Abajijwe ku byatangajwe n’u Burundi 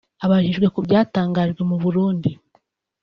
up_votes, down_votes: 2, 3